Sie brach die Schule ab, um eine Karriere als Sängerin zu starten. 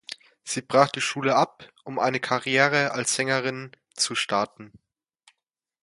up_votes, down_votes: 2, 0